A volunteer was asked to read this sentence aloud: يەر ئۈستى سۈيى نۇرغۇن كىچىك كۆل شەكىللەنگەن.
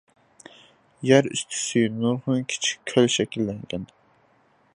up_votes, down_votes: 0, 2